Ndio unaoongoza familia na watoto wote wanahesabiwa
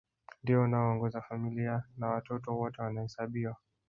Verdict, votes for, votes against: rejected, 2, 3